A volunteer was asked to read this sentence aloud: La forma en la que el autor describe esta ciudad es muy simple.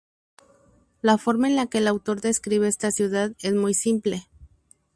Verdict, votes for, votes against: accepted, 2, 0